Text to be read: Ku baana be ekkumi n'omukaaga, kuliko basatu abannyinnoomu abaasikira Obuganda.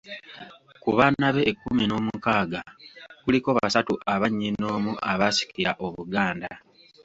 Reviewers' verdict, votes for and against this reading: accepted, 2, 0